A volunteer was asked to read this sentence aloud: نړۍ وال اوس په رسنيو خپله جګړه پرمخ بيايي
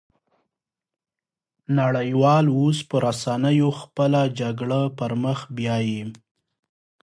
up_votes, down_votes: 6, 0